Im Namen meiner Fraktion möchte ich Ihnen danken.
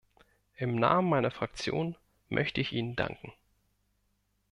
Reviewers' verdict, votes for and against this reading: accepted, 2, 0